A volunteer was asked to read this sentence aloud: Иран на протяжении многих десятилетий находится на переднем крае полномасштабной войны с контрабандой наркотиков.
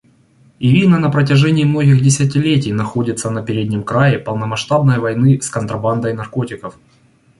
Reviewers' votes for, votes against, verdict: 2, 1, accepted